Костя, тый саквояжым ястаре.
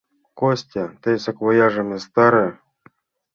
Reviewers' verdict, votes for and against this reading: accepted, 2, 0